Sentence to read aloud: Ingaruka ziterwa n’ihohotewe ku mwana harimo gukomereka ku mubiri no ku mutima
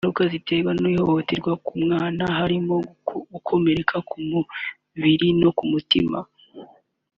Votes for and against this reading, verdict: 0, 2, rejected